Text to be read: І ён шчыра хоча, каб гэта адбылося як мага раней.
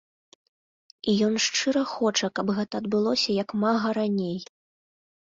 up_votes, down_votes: 0, 2